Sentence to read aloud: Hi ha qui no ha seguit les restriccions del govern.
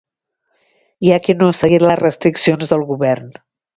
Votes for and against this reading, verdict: 2, 0, accepted